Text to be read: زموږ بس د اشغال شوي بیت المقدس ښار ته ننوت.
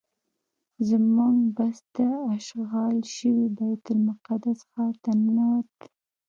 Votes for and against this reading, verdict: 1, 2, rejected